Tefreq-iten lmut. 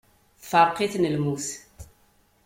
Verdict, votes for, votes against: accepted, 2, 0